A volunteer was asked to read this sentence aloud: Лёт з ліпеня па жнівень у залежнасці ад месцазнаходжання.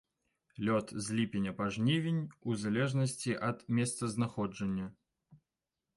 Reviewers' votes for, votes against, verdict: 2, 0, accepted